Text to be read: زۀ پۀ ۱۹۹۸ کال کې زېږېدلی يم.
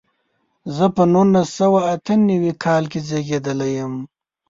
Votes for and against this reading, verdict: 0, 2, rejected